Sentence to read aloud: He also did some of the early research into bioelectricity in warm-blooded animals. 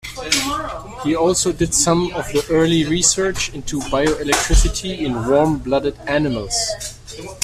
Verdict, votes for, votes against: rejected, 0, 2